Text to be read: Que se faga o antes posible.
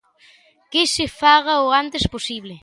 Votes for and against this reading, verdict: 2, 0, accepted